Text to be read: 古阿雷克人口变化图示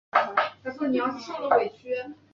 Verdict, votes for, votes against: rejected, 0, 4